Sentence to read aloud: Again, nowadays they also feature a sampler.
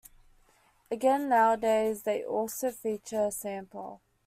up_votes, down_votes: 0, 2